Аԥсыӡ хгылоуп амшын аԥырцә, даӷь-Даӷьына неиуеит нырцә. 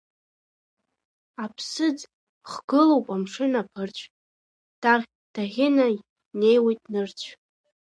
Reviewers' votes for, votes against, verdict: 2, 0, accepted